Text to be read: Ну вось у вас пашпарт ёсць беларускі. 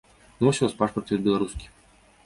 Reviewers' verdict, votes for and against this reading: rejected, 0, 2